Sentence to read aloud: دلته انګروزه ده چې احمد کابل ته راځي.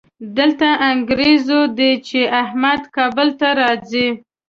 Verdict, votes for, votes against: rejected, 1, 2